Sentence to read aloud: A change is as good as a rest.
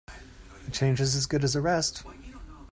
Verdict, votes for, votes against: rejected, 0, 2